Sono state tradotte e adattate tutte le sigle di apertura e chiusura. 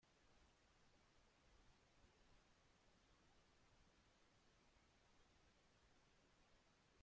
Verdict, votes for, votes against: rejected, 0, 2